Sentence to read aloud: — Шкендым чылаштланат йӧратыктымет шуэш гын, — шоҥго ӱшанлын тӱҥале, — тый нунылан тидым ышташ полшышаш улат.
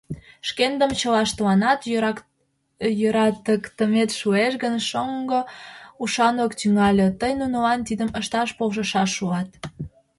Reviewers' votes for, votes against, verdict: 0, 2, rejected